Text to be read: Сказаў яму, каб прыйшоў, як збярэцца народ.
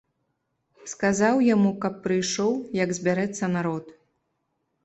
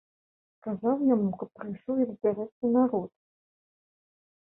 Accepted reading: first